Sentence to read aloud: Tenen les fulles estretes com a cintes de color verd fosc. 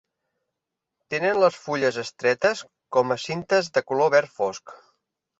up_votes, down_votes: 3, 0